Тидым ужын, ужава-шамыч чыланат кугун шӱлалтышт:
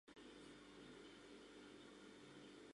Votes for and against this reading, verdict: 0, 2, rejected